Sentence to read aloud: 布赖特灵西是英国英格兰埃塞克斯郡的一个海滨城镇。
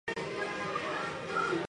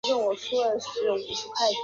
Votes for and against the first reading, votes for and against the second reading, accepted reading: 2, 0, 1, 3, first